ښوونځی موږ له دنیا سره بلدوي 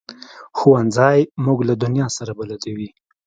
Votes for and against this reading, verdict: 2, 0, accepted